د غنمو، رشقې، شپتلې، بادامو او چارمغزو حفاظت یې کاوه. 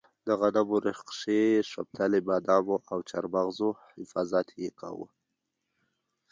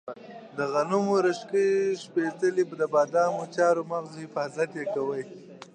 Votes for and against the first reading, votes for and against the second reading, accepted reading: 1, 2, 2, 0, second